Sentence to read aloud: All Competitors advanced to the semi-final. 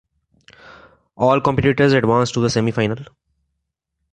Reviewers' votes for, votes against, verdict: 2, 0, accepted